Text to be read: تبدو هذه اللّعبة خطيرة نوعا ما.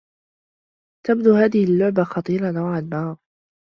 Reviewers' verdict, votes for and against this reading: accepted, 2, 0